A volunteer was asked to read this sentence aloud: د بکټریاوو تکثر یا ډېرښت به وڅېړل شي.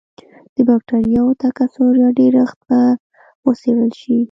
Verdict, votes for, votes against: rejected, 1, 2